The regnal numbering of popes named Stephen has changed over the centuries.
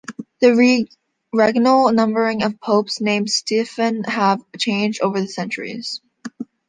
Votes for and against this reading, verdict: 1, 2, rejected